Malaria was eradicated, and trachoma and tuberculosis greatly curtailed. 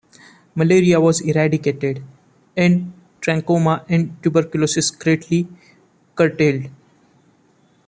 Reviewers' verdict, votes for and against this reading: accepted, 2, 0